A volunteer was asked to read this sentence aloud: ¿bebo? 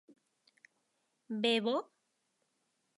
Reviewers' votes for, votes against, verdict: 0, 2, rejected